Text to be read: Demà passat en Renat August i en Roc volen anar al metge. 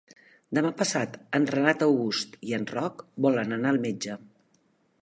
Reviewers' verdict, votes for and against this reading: accepted, 3, 0